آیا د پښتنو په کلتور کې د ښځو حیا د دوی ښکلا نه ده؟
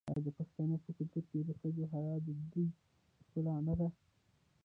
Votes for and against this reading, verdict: 2, 1, accepted